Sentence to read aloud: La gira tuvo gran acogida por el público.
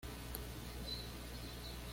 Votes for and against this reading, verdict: 1, 2, rejected